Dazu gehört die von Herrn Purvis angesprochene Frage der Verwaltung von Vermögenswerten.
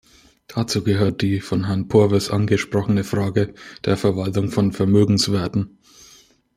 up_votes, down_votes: 1, 2